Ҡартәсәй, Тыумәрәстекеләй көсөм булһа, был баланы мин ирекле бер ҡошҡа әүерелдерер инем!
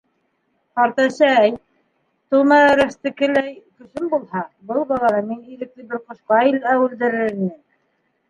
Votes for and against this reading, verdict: 1, 2, rejected